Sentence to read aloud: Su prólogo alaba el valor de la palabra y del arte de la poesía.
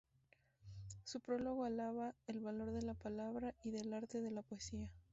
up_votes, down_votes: 2, 0